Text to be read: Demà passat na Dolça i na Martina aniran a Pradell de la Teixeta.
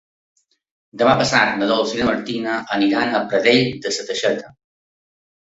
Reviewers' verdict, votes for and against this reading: accepted, 2, 0